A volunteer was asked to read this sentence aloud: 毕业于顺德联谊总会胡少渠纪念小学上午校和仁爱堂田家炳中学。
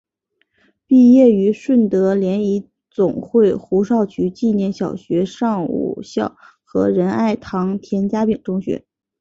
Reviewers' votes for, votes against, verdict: 2, 0, accepted